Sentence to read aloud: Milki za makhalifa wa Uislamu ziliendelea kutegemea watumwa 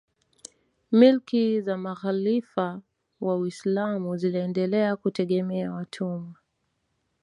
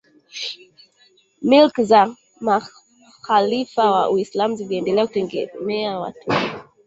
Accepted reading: first